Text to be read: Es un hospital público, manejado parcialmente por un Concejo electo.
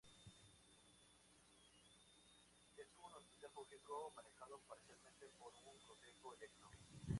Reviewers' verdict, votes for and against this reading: rejected, 0, 2